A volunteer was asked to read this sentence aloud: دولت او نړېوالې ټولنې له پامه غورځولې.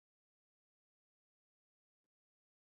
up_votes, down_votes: 1, 2